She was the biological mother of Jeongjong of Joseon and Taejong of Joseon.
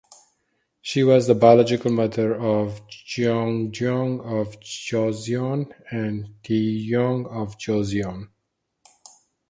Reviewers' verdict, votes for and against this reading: accepted, 4, 0